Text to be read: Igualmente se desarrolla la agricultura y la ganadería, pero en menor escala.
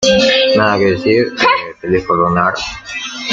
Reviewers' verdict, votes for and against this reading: rejected, 0, 2